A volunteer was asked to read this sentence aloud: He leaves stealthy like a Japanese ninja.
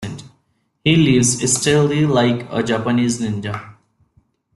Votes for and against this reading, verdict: 0, 2, rejected